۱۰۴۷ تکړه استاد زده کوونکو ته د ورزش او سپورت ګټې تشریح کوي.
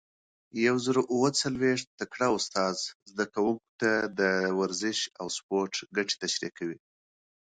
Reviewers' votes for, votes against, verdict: 0, 2, rejected